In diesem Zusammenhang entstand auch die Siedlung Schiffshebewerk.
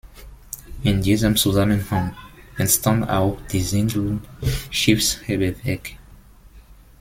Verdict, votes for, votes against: rejected, 1, 2